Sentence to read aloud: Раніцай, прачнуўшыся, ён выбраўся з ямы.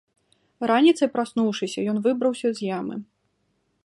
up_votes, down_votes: 0, 2